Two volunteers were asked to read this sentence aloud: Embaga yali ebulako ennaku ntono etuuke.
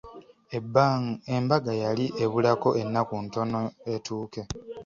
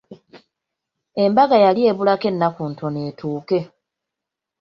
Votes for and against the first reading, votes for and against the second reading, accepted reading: 1, 2, 2, 0, second